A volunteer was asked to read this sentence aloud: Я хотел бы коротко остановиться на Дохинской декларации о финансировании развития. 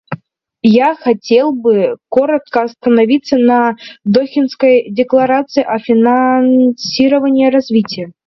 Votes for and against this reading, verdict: 2, 0, accepted